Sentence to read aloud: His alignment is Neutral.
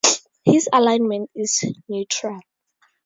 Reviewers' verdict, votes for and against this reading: accepted, 4, 0